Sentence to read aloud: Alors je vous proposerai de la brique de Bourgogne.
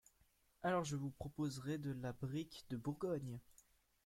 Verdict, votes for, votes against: rejected, 1, 2